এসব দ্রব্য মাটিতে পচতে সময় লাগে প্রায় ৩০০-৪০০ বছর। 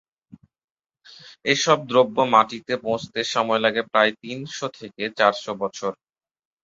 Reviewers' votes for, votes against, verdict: 0, 2, rejected